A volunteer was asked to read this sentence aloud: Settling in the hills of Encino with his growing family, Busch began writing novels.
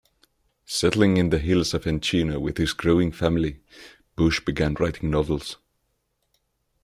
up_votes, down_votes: 1, 2